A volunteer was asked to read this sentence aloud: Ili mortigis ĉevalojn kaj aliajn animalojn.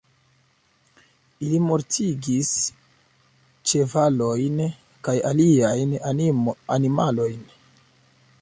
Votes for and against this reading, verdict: 0, 2, rejected